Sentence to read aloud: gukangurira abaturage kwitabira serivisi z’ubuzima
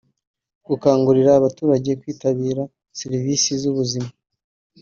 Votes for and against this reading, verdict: 2, 0, accepted